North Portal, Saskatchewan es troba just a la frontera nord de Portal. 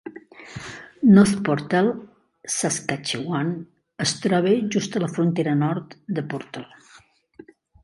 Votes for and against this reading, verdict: 3, 1, accepted